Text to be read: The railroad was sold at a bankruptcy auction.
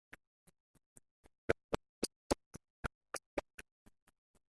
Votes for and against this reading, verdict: 0, 2, rejected